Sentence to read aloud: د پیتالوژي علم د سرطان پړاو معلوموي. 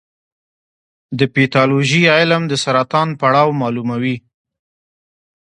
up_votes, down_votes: 1, 2